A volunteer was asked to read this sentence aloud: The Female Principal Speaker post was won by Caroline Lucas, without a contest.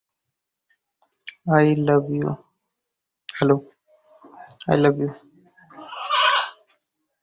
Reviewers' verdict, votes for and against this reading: rejected, 0, 2